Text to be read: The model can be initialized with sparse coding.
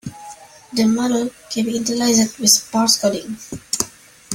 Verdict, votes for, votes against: rejected, 0, 3